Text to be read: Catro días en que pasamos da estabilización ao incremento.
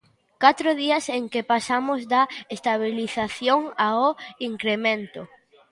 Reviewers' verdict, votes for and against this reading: accepted, 2, 0